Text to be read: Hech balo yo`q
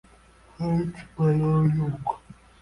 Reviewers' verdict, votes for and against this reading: rejected, 0, 2